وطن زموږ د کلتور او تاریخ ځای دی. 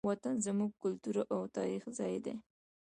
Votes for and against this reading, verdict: 0, 2, rejected